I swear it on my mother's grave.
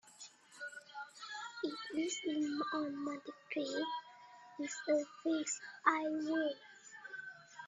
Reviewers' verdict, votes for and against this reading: rejected, 0, 4